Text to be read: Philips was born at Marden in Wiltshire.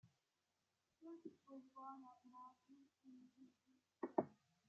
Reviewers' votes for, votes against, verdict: 0, 2, rejected